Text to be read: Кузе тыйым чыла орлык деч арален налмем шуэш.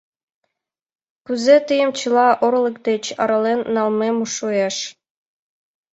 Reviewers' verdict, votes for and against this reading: accepted, 2, 0